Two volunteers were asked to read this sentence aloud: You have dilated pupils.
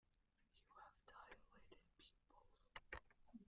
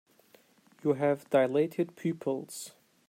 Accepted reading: second